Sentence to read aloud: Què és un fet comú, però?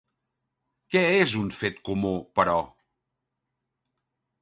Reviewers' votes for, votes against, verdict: 2, 0, accepted